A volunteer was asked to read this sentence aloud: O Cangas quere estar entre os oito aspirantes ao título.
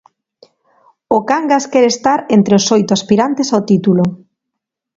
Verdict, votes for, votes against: accepted, 3, 0